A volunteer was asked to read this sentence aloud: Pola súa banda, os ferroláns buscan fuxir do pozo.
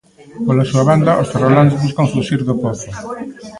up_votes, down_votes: 2, 0